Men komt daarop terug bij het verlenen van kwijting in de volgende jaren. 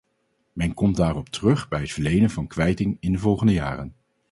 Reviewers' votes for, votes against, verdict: 2, 2, rejected